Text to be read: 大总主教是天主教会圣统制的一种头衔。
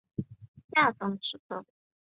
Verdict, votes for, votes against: rejected, 0, 3